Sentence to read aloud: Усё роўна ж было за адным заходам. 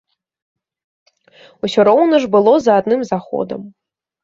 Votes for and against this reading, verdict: 2, 0, accepted